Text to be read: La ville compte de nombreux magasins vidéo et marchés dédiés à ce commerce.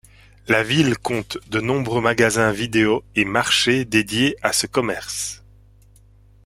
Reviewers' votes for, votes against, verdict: 2, 0, accepted